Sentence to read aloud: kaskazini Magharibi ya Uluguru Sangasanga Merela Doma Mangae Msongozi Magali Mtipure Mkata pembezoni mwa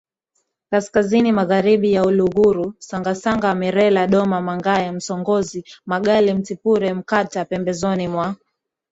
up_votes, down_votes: 2, 1